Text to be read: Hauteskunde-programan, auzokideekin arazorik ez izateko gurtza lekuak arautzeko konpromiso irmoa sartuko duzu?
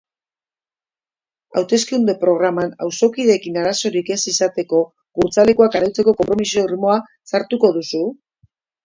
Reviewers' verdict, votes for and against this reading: accepted, 2, 0